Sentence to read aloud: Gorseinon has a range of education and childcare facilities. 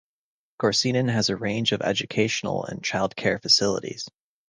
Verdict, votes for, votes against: rejected, 0, 2